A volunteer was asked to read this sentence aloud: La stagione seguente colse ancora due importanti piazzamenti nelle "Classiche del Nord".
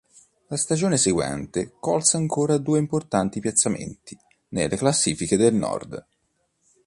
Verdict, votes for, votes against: accepted, 2, 0